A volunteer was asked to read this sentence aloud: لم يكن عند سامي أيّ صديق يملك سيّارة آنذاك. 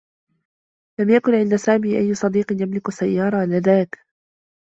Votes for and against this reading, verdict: 2, 0, accepted